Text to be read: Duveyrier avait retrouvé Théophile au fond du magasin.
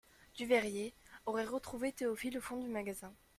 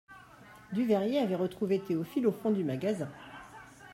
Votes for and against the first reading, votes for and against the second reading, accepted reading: 0, 2, 2, 1, second